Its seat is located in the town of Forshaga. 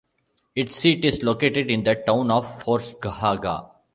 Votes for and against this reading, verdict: 0, 2, rejected